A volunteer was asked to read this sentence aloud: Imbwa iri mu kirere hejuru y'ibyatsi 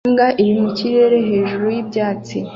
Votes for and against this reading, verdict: 2, 0, accepted